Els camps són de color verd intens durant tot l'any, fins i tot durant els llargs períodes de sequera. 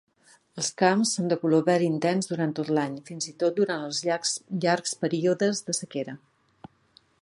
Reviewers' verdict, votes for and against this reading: rejected, 0, 2